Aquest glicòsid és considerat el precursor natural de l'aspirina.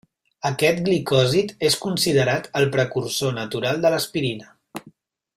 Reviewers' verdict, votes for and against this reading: accepted, 2, 0